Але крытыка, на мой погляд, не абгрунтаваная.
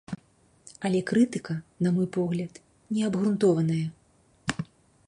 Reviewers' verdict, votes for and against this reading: rejected, 1, 2